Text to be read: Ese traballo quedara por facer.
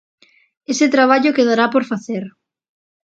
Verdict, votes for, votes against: rejected, 0, 2